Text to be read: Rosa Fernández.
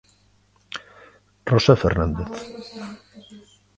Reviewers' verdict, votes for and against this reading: accepted, 2, 1